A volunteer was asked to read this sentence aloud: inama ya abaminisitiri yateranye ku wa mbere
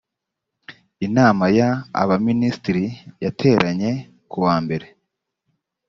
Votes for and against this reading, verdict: 2, 0, accepted